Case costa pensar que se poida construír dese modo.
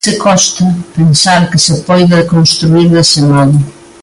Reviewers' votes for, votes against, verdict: 1, 2, rejected